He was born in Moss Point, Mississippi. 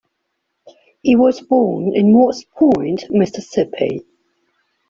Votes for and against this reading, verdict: 3, 0, accepted